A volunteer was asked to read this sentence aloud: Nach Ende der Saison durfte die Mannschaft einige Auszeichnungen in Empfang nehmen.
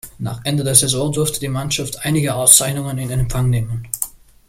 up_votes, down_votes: 1, 2